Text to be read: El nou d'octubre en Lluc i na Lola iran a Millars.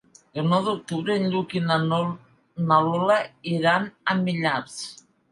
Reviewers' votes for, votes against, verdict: 0, 2, rejected